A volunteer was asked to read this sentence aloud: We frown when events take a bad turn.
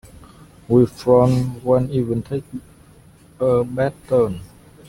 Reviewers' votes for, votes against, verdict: 1, 2, rejected